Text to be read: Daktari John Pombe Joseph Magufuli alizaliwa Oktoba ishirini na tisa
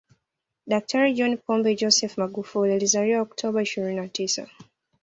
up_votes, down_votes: 2, 0